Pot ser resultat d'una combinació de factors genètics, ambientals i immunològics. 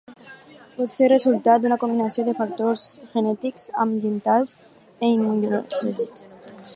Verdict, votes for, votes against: accepted, 4, 2